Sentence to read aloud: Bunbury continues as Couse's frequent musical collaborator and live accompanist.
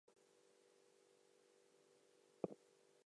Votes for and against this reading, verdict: 0, 2, rejected